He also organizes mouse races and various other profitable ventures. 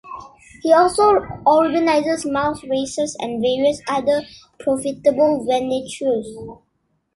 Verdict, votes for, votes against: rejected, 0, 2